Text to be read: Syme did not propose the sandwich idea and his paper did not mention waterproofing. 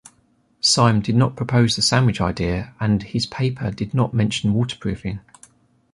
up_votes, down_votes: 2, 0